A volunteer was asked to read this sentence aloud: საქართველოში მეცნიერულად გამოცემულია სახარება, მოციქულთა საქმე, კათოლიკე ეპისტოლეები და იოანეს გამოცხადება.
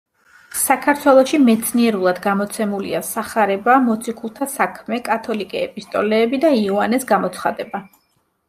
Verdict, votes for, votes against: accepted, 2, 0